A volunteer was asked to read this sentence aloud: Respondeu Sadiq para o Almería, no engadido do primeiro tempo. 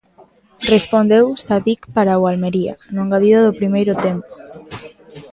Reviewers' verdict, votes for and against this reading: accepted, 2, 0